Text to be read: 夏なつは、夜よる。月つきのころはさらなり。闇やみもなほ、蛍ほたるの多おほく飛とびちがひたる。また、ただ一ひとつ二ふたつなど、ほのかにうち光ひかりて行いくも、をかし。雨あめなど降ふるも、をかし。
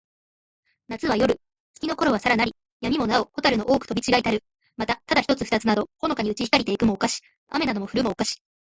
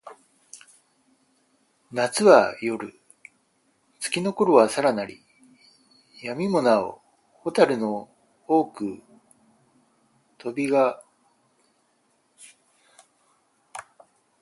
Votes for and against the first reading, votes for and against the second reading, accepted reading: 2, 0, 2, 4, first